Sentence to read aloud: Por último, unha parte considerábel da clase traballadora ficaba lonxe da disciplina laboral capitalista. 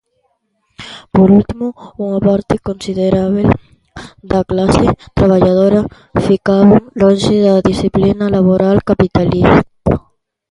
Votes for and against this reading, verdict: 0, 2, rejected